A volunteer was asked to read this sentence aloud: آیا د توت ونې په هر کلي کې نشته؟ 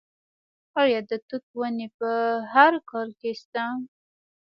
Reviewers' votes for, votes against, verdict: 1, 2, rejected